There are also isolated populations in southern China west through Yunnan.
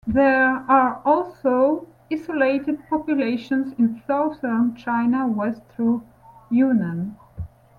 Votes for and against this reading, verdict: 0, 2, rejected